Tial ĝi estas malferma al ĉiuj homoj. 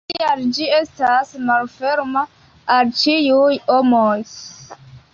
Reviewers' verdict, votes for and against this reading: accepted, 2, 0